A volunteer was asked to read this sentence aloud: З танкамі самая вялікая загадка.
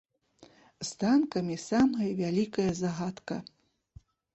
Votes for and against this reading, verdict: 1, 2, rejected